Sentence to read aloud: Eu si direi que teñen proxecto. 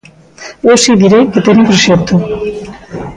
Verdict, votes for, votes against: rejected, 1, 2